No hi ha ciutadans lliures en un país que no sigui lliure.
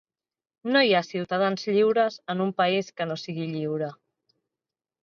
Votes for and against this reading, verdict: 2, 0, accepted